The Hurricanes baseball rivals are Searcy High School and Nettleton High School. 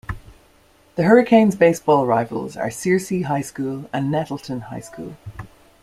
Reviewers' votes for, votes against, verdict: 2, 0, accepted